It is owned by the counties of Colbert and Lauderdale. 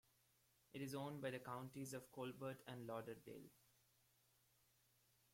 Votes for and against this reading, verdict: 1, 2, rejected